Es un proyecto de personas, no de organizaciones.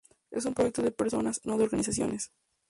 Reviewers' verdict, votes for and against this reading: accepted, 2, 0